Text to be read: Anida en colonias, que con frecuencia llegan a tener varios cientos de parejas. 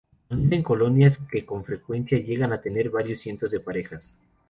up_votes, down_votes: 0, 2